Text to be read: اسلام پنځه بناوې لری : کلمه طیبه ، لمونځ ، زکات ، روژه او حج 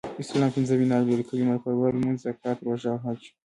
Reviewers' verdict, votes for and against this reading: rejected, 1, 2